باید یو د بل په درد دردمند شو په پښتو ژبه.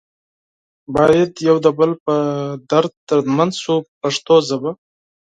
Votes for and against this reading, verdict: 4, 0, accepted